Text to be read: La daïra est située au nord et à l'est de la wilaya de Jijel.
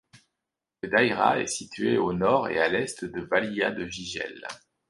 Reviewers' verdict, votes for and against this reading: rejected, 1, 2